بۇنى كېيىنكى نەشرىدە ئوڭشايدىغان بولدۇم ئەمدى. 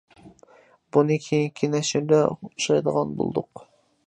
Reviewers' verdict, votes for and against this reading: rejected, 0, 2